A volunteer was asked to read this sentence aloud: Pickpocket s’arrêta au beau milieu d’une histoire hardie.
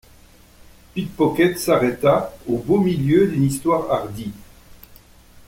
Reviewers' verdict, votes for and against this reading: accepted, 2, 0